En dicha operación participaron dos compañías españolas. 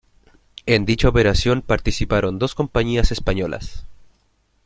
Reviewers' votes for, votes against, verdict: 3, 0, accepted